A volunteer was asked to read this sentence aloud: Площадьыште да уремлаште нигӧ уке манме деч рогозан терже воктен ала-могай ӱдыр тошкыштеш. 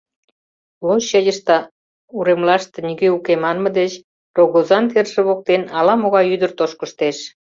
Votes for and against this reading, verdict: 0, 2, rejected